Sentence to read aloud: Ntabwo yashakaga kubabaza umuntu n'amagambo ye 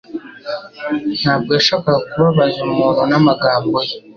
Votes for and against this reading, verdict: 3, 0, accepted